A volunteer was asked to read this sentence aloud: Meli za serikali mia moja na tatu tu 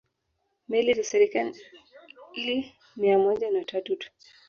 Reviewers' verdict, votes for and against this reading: rejected, 0, 2